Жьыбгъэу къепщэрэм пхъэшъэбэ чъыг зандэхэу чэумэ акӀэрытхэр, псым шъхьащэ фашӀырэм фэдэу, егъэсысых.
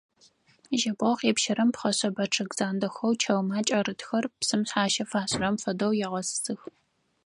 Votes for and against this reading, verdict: 4, 0, accepted